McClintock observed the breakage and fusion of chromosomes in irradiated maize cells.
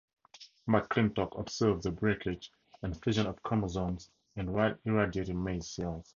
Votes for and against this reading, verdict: 2, 0, accepted